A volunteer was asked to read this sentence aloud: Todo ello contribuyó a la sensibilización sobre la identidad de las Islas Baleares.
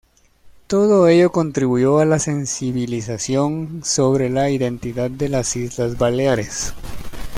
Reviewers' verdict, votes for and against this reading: accepted, 2, 0